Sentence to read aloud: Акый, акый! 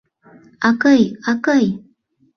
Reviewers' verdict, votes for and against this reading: accepted, 2, 0